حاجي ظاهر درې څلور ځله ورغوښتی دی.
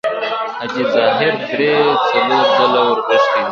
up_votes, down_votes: 2, 0